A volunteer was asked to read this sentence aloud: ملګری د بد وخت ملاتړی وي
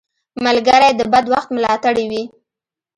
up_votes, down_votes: 0, 2